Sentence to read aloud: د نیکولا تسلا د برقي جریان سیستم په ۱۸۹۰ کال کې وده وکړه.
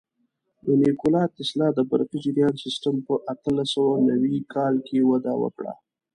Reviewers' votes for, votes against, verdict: 0, 2, rejected